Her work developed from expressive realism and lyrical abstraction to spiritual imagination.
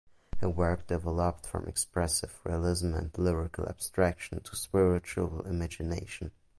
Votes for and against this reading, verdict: 2, 1, accepted